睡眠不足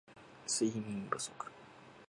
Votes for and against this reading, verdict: 2, 0, accepted